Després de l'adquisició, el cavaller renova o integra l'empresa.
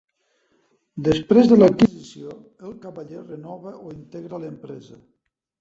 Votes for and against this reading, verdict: 1, 2, rejected